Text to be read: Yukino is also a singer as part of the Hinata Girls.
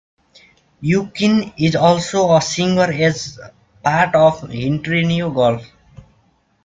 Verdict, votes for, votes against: rejected, 0, 2